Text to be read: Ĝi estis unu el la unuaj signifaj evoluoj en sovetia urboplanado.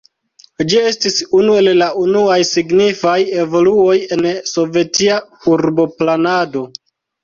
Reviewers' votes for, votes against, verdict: 1, 2, rejected